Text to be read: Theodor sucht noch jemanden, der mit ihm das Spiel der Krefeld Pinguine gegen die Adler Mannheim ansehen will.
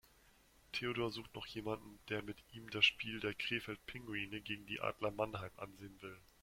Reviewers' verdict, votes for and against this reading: accepted, 2, 0